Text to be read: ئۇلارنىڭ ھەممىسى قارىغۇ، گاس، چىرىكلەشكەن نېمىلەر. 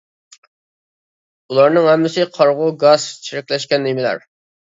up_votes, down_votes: 2, 0